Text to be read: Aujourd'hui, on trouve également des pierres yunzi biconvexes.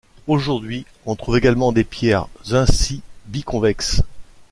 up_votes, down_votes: 1, 2